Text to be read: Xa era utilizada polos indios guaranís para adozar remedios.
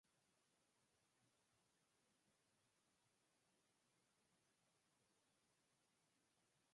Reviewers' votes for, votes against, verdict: 0, 4, rejected